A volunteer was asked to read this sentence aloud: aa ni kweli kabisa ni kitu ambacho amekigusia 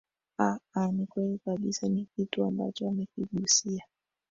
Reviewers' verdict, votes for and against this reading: rejected, 1, 2